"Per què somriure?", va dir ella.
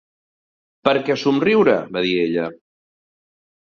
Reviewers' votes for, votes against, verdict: 2, 0, accepted